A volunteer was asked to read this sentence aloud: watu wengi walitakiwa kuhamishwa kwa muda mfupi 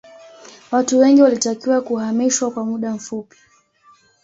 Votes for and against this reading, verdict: 2, 0, accepted